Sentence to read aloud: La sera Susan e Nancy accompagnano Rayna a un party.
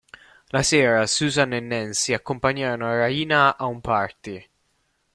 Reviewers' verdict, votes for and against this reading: rejected, 1, 2